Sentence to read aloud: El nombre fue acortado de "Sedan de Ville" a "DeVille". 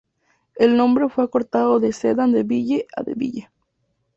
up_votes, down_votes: 2, 0